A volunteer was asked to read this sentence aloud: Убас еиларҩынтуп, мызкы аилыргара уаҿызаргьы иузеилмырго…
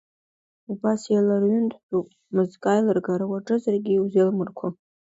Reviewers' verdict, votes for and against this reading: accepted, 2, 1